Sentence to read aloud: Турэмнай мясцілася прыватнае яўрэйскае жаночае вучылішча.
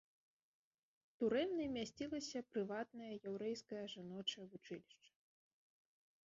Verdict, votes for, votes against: rejected, 1, 2